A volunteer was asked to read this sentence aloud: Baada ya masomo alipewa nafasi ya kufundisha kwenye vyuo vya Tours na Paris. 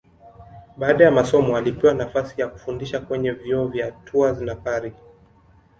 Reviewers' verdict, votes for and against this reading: accepted, 3, 0